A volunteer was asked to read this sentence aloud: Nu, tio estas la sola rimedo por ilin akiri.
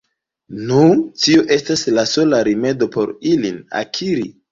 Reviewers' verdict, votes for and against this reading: rejected, 1, 2